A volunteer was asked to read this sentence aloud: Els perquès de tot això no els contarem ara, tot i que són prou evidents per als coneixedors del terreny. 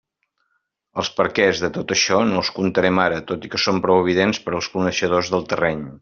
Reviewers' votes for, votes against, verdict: 2, 0, accepted